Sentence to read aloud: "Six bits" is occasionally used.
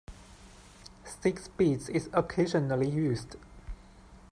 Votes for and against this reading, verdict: 2, 0, accepted